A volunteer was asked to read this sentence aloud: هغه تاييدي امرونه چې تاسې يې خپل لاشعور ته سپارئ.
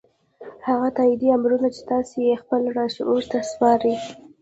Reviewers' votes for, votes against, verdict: 2, 0, accepted